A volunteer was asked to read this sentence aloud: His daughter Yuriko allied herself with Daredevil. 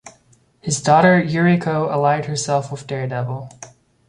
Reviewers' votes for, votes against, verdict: 2, 0, accepted